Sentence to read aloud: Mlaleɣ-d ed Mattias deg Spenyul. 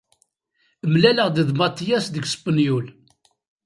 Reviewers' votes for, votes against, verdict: 1, 2, rejected